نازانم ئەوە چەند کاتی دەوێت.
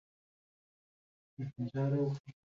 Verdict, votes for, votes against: rejected, 0, 2